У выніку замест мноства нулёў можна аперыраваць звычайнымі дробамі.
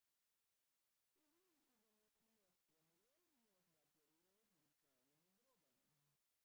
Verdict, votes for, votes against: rejected, 0, 2